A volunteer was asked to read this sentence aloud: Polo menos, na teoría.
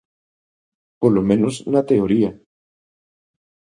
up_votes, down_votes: 2, 0